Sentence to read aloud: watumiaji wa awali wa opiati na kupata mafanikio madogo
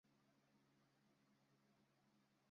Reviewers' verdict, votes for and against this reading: rejected, 0, 2